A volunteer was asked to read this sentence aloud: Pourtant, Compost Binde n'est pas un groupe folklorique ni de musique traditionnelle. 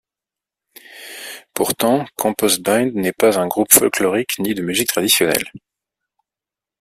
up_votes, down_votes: 2, 0